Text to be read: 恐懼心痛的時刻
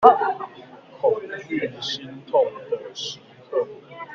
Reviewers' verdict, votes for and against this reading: rejected, 0, 2